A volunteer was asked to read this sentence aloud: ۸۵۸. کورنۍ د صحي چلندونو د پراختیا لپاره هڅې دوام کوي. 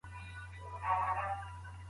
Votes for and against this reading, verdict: 0, 2, rejected